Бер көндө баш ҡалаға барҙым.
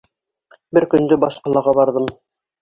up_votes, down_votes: 2, 0